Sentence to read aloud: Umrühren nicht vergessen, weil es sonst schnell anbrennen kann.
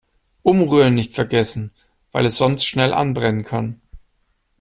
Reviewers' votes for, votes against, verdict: 2, 0, accepted